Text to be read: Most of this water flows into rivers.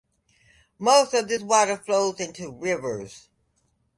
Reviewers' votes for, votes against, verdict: 2, 1, accepted